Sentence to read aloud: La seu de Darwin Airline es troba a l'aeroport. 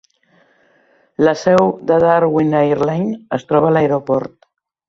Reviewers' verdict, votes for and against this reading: accepted, 3, 0